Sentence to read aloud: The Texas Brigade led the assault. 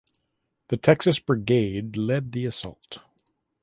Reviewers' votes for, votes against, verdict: 2, 0, accepted